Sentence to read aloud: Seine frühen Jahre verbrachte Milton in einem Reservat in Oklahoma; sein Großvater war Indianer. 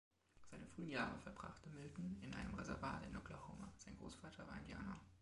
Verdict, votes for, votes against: rejected, 0, 2